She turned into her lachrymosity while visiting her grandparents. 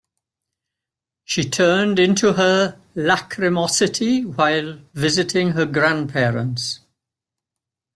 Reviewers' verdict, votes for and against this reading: accepted, 2, 0